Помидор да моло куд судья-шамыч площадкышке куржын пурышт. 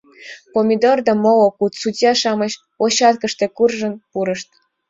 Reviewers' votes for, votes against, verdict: 1, 2, rejected